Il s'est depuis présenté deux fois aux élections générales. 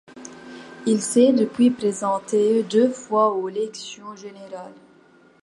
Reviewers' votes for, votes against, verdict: 2, 0, accepted